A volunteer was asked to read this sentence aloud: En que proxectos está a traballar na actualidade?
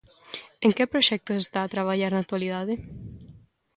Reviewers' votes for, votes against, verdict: 2, 0, accepted